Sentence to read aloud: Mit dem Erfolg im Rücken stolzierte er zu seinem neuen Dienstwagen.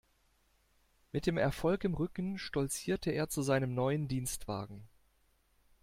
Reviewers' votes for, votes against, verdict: 2, 0, accepted